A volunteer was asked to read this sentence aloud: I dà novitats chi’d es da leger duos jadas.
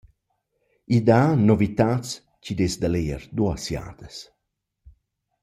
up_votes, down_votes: 2, 1